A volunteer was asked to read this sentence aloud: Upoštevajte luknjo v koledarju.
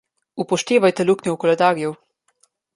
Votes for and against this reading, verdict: 2, 0, accepted